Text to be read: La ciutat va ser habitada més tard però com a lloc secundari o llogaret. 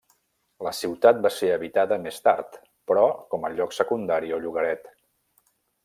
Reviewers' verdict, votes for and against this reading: accepted, 3, 0